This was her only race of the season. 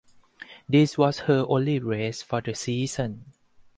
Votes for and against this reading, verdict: 2, 4, rejected